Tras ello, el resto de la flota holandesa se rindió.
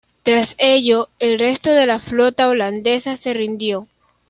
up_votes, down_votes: 2, 0